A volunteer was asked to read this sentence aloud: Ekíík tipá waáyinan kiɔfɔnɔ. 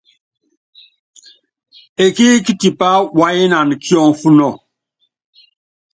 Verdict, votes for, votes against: accepted, 2, 0